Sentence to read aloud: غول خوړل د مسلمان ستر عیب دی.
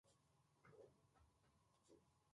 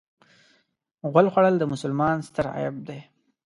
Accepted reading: second